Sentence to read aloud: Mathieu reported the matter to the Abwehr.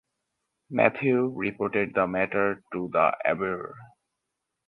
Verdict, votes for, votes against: accepted, 4, 0